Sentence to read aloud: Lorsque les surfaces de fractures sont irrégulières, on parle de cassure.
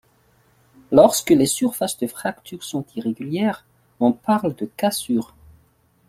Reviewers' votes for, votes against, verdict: 2, 1, accepted